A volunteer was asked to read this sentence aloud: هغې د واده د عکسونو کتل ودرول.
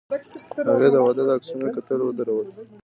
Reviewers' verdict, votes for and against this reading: accepted, 2, 0